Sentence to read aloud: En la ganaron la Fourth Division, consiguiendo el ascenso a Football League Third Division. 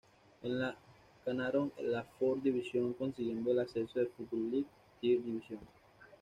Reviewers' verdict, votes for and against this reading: accepted, 2, 0